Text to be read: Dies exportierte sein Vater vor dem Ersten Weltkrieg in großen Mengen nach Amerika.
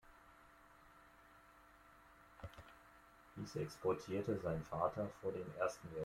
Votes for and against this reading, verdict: 0, 2, rejected